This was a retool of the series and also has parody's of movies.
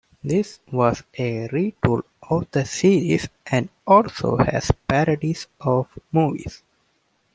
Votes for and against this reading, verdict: 2, 0, accepted